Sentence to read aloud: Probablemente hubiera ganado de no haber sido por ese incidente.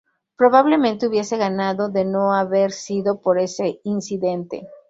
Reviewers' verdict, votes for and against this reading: rejected, 2, 2